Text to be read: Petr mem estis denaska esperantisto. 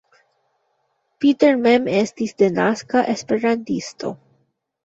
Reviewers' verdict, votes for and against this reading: rejected, 0, 2